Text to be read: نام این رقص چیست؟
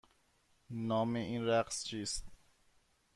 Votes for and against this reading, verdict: 2, 0, accepted